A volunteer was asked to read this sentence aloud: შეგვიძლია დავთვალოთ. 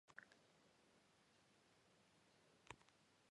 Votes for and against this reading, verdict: 0, 2, rejected